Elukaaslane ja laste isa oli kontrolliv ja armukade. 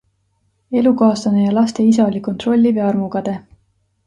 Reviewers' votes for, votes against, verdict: 2, 0, accepted